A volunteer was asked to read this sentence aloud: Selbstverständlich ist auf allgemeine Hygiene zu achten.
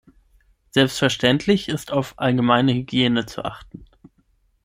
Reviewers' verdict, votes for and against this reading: accepted, 6, 0